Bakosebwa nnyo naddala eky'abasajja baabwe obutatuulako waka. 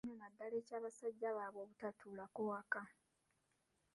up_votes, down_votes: 0, 2